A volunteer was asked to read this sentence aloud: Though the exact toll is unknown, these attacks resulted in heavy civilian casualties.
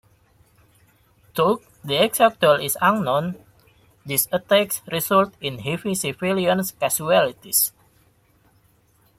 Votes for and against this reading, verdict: 0, 2, rejected